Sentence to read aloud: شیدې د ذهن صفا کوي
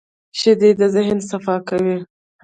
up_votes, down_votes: 1, 2